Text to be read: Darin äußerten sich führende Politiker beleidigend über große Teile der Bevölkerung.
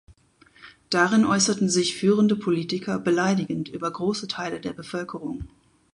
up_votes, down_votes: 2, 0